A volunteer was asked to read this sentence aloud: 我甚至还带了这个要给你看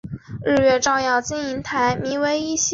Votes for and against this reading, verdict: 0, 2, rejected